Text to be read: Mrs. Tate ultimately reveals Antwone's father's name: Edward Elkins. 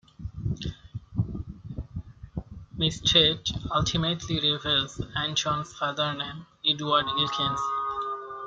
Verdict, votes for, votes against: rejected, 1, 2